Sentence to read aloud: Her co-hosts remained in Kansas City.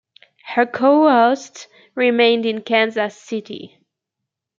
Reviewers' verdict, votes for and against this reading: rejected, 1, 2